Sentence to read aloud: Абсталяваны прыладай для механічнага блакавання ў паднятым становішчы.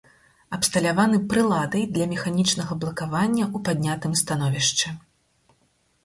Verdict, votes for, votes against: rejected, 2, 4